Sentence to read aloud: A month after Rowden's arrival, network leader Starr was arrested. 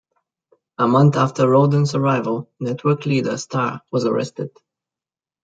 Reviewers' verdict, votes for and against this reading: accepted, 2, 0